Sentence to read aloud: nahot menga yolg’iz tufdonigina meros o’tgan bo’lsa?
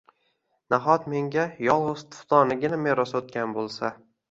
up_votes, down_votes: 1, 2